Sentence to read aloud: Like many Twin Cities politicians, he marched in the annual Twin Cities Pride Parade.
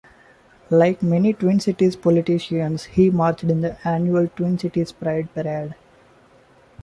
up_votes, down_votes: 1, 2